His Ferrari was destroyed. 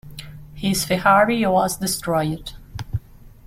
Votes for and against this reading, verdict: 0, 2, rejected